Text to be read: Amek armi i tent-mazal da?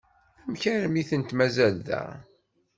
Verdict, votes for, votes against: accepted, 2, 0